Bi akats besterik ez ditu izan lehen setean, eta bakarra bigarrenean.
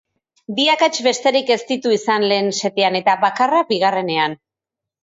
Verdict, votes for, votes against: accepted, 4, 0